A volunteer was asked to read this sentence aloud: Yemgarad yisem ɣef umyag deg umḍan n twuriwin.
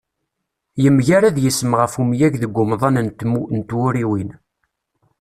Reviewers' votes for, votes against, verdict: 0, 2, rejected